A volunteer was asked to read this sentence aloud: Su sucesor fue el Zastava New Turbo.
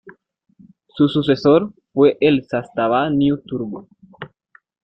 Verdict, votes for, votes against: accepted, 2, 1